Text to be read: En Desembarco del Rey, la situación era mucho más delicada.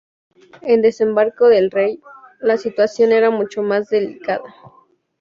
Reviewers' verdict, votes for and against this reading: accepted, 2, 0